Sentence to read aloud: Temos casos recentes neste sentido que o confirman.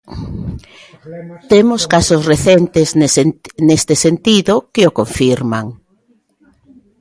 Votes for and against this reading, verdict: 0, 2, rejected